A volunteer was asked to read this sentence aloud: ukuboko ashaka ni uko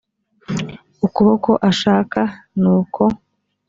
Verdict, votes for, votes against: accepted, 2, 0